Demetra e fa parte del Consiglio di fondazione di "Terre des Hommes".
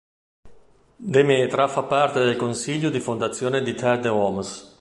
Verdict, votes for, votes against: rejected, 1, 2